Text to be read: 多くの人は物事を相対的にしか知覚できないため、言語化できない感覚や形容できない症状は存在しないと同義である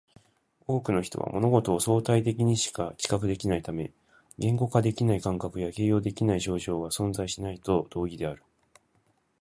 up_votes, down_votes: 2, 3